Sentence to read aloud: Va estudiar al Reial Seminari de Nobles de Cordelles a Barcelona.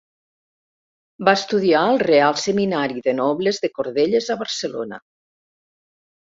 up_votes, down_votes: 1, 2